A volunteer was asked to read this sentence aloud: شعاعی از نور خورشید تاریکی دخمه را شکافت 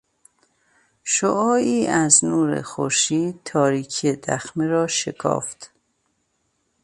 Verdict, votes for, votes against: accepted, 2, 0